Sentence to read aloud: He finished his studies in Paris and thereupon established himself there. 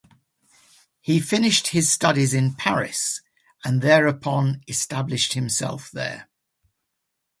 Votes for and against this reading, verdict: 2, 0, accepted